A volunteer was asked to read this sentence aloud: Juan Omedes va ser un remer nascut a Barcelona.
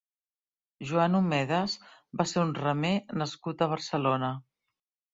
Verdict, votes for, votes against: rejected, 1, 2